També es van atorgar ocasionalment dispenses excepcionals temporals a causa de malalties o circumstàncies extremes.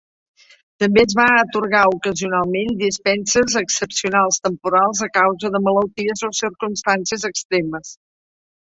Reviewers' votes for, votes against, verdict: 1, 2, rejected